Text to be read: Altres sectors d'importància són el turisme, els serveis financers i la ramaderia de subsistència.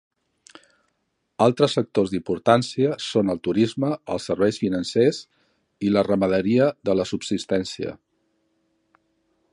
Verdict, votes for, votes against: rejected, 0, 2